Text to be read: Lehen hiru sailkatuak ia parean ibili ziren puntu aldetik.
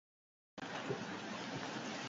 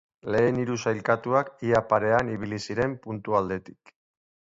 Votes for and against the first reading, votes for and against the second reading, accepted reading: 0, 8, 2, 1, second